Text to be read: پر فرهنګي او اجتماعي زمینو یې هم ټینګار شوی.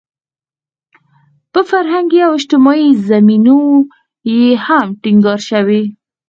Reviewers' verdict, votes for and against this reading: rejected, 2, 4